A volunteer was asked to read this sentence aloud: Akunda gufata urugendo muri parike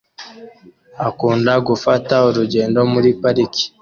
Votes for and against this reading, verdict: 2, 0, accepted